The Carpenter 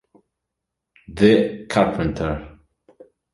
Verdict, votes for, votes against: accepted, 2, 0